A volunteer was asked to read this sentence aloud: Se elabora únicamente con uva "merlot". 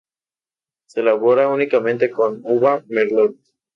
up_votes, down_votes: 2, 0